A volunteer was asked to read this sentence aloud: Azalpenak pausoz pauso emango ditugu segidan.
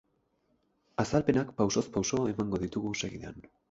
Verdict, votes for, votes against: rejected, 0, 2